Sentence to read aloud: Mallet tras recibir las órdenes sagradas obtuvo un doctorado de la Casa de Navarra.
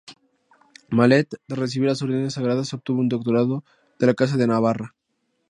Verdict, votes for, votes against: accepted, 2, 0